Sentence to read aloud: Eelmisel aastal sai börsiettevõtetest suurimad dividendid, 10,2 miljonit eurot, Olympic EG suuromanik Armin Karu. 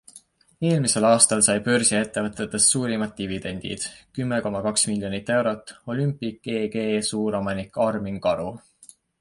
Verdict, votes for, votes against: rejected, 0, 2